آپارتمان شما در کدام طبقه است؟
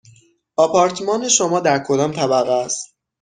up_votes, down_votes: 6, 0